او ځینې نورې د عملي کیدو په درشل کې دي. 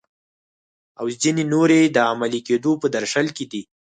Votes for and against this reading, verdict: 4, 0, accepted